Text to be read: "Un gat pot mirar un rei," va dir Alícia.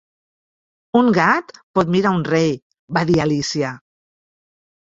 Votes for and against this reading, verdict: 1, 2, rejected